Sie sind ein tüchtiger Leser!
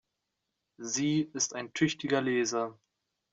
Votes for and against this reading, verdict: 0, 2, rejected